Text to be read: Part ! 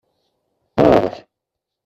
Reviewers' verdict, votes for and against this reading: accepted, 2, 0